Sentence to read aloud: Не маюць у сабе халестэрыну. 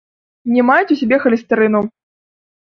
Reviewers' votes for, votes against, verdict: 2, 0, accepted